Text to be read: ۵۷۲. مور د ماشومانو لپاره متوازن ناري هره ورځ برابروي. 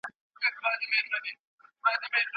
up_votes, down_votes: 0, 2